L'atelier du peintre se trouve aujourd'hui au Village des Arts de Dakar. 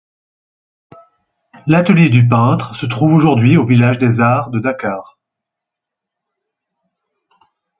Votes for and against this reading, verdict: 4, 0, accepted